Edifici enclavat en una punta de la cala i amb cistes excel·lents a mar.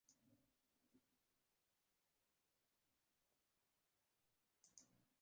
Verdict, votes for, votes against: rejected, 0, 2